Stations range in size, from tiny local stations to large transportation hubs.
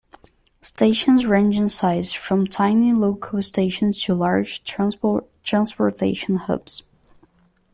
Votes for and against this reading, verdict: 0, 2, rejected